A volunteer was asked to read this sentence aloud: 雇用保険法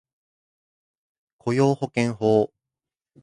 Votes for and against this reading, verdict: 2, 0, accepted